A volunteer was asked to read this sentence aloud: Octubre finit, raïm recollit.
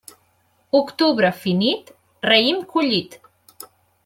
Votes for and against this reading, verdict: 0, 2, rejected